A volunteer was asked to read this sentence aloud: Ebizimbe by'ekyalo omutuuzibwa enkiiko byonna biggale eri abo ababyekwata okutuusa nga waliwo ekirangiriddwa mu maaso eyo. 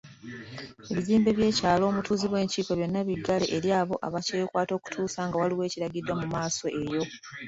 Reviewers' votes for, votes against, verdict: 2, 0, accepted